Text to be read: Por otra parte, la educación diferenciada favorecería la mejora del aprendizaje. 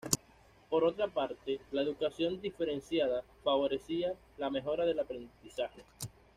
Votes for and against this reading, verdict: 1, 2, rejected